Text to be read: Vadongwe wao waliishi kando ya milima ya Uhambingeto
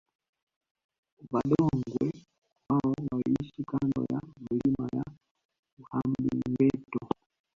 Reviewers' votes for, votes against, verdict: 2, 0, accepted